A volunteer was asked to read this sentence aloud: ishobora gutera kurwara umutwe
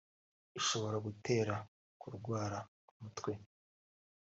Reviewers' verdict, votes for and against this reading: accepted, 2, 0